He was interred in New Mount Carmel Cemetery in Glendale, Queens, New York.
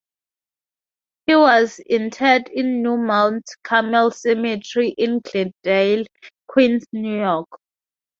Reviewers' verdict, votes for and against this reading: accepted, 4, 2